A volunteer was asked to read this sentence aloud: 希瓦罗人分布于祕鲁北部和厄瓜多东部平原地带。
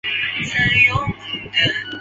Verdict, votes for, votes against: rejected, 0, 4